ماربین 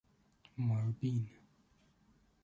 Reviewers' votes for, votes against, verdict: 0, 2, rejected